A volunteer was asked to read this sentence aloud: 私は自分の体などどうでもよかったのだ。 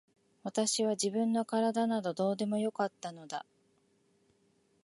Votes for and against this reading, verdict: 2, 0, accepted